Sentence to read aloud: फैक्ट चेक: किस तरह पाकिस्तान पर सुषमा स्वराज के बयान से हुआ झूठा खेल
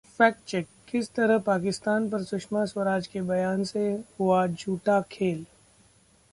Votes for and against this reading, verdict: 2, 0, accepted